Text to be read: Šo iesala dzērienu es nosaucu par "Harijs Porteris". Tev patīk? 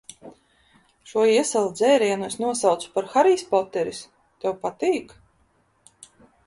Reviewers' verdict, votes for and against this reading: rejected, 1, 2